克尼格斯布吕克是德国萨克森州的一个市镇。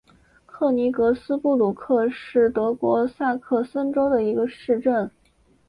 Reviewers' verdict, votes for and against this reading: accepted, 5, 1